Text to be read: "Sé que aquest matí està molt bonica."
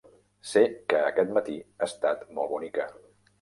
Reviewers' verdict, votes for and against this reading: rejected, 1, 2